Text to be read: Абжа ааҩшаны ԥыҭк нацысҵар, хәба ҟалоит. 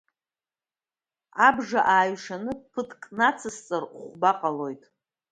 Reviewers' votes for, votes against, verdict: 2, 0, accepted